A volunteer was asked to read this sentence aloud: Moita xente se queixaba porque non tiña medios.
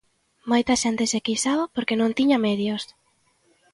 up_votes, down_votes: 2, 0